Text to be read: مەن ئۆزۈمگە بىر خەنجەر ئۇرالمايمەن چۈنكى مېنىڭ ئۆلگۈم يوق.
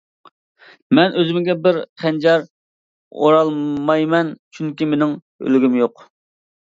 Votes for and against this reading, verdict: 0, 2, rejected